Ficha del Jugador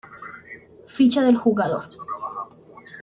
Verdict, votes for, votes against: rejected, 1, 2